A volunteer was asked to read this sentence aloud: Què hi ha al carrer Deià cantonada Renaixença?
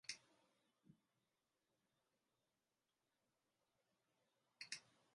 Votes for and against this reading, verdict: 0, 2, rejected